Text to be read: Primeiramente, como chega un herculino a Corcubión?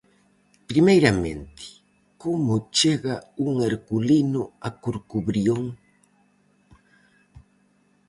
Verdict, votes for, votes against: rejected, 0, 4